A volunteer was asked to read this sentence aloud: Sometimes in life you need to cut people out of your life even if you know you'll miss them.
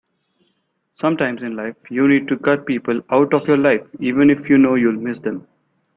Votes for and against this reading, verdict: 2, 0, accepted